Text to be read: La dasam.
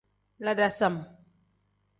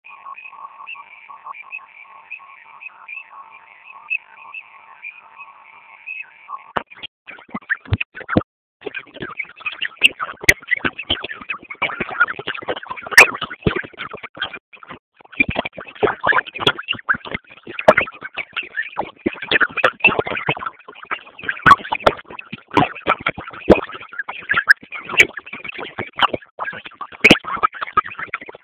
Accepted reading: first